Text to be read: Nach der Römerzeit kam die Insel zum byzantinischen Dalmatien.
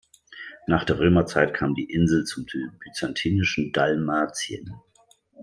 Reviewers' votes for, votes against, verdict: 1, 2, rejected